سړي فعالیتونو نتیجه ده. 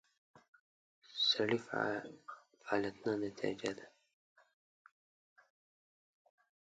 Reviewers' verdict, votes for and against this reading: rejected, 1, 2